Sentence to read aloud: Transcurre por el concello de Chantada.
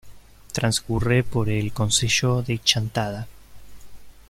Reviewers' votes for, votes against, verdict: 2, 0, accepted